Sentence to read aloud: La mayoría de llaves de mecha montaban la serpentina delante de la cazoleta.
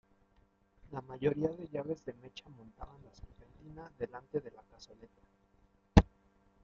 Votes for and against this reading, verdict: 0, 2, rejected